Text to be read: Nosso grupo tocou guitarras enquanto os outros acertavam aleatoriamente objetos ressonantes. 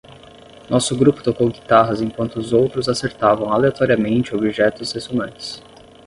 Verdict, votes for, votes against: rejected, 5, 5